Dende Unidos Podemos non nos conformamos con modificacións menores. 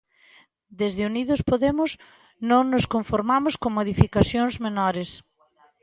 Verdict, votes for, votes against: rejected, 0, 2